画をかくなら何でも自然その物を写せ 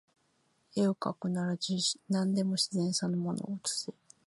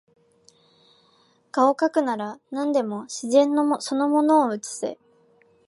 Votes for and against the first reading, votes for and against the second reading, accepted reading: 0, 2, 2, 1, second